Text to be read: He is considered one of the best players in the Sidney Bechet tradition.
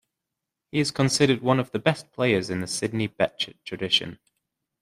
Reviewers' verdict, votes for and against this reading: accepted, 2, 0